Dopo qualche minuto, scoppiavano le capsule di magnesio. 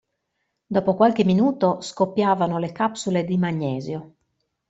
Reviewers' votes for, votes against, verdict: 2, 0, accepted